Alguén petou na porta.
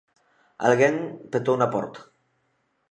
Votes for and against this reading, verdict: 2, 0, accepted